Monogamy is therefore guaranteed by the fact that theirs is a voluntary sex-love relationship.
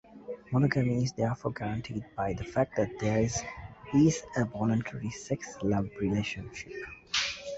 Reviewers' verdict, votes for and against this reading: rejected, 1, 2